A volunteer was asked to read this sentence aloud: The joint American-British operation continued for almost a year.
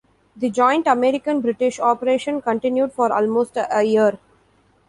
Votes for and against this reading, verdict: 2, 1, accepted